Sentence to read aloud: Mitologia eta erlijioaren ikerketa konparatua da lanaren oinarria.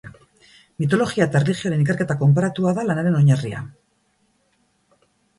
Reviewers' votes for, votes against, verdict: 4, 0, accepted